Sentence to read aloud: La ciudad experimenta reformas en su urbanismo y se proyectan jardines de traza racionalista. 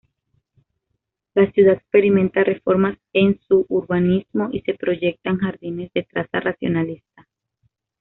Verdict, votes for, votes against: accepted, 2, 0